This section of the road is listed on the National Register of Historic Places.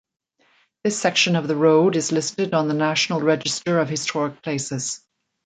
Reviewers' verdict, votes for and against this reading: accepted, 2, 0